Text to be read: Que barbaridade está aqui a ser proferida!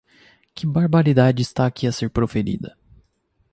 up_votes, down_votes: 2, 0